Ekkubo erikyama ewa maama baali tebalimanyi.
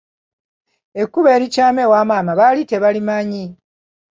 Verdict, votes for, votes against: accepted, 2, 0